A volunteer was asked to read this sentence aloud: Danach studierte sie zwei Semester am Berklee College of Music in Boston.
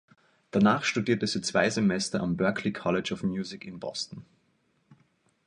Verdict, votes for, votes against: accepted, 2, 0